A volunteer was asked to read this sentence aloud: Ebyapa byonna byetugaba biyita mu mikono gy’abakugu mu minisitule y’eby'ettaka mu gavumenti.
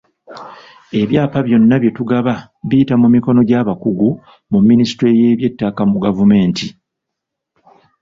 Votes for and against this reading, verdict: 2, 0, accepted